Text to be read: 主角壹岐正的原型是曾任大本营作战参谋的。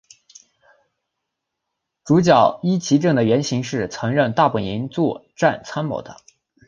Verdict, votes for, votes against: rejected, 0, 2